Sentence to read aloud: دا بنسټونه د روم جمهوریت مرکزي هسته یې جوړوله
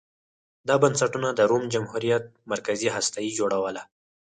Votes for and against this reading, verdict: 4, 0, accepted